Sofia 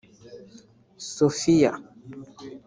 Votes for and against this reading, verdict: 0, 2, rejected